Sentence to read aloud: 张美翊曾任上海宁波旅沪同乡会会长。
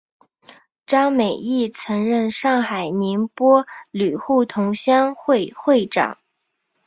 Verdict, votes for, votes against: accepted, 6, 0